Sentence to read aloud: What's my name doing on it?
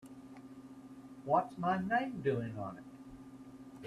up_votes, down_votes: 2, 0